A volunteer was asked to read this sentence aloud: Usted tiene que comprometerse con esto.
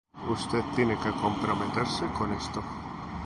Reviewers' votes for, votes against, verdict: 0, 2, rejected